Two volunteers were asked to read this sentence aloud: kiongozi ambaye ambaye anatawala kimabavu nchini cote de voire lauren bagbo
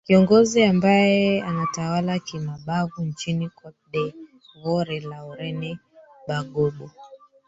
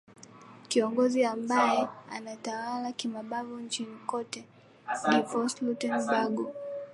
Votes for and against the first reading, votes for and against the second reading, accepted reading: 1, 3, 4, 1, second